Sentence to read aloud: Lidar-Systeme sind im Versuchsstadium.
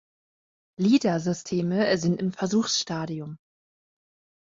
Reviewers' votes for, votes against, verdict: 3, 1, accepted